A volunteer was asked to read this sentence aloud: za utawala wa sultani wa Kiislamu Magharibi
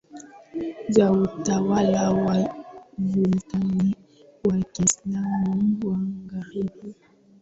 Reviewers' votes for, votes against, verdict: 2, 0, accepted